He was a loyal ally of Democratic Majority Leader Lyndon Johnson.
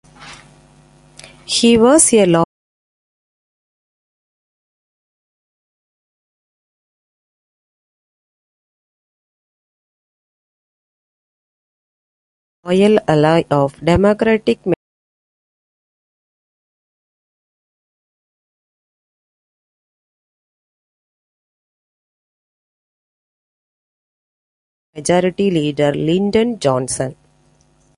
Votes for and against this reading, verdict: 0, 2, rejected